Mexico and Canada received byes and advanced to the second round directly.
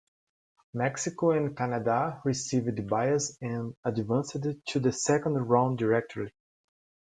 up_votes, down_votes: 1, 2